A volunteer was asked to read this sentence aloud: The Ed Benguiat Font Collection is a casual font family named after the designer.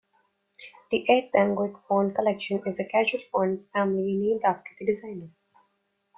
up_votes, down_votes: 2, 0